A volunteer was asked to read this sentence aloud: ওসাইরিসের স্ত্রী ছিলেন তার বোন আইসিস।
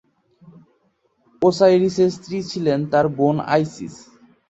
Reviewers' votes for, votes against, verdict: 2, 0, accepted